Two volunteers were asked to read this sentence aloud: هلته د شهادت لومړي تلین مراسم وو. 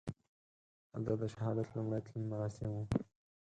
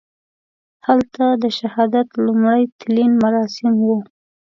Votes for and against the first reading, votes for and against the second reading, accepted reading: 4, 0, 0, 2, first